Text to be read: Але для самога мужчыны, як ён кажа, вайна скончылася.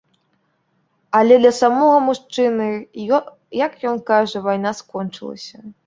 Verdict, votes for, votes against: rejected, 1, 2